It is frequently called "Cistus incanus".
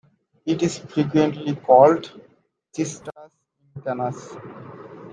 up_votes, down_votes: 0, 2